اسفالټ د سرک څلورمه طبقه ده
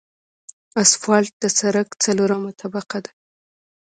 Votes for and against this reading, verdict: 1, 2, rejected